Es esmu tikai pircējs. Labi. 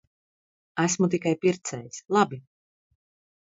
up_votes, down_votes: 0, 2